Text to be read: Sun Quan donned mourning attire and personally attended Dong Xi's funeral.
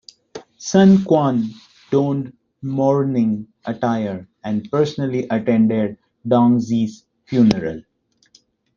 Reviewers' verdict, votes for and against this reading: accepted, 2, 0